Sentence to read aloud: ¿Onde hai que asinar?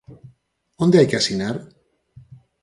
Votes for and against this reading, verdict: 4, 0, accepted